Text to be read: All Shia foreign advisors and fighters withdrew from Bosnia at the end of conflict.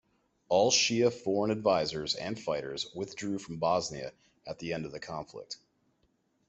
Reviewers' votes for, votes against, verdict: 0, 2, rejected